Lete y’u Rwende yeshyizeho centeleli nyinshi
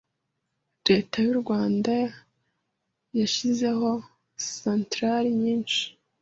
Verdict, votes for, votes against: rejected, 1, 2